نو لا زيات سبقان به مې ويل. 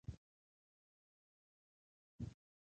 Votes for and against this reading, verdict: 0, 2, rejected